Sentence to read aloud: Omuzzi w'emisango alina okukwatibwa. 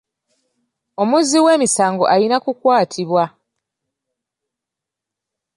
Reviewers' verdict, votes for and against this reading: rejected, 0, 2